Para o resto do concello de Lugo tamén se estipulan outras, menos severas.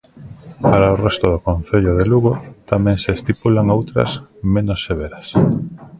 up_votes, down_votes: 2, 0